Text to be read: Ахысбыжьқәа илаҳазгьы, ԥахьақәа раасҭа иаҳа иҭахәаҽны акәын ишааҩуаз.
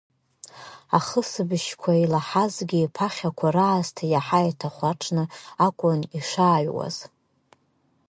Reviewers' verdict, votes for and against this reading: accepted, 3, 1